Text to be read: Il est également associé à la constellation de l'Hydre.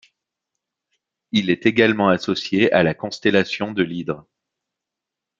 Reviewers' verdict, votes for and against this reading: accepted, 2, 0